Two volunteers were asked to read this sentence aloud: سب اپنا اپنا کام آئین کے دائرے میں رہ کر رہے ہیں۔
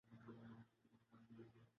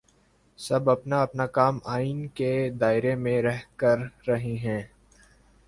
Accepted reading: second